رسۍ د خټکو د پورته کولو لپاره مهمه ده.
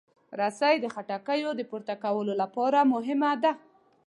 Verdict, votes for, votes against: accepted, 2, 0